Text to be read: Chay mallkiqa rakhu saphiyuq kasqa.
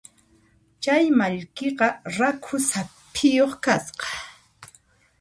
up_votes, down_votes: 3, 0